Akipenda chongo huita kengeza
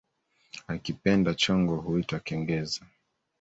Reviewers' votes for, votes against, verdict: 3, 1, accepted